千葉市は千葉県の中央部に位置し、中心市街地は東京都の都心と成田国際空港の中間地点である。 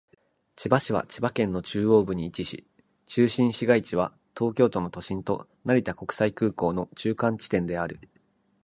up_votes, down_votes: 1, 2